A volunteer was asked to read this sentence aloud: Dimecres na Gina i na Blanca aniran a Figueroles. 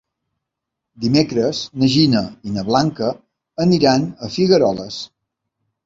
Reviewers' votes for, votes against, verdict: 3, 0, accepted